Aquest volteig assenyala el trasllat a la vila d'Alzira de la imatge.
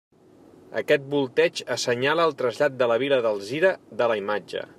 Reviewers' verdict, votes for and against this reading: rejected, 1, 2